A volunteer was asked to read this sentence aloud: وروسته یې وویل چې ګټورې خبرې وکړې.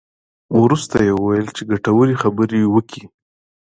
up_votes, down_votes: 2, 0